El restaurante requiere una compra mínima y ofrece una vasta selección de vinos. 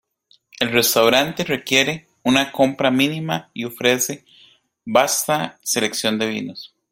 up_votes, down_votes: 0, 2